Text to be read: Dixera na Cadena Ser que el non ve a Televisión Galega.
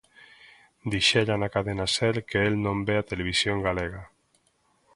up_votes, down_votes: 2, 0